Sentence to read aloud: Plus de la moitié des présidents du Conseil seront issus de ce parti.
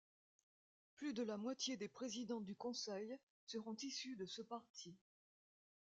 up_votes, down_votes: 1, 2